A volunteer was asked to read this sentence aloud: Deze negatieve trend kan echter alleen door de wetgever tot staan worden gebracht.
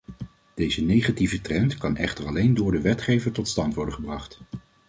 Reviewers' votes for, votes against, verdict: 0, 2, rejected